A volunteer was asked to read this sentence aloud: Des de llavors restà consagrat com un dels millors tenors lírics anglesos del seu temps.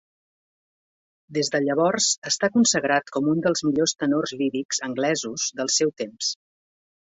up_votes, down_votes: 0, 2